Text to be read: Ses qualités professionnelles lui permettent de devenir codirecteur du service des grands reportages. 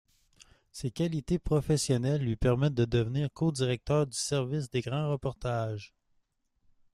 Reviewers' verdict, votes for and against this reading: accepted, 2, 0